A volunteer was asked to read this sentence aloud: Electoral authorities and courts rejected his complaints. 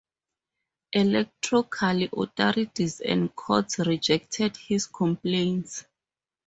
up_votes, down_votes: 2, 4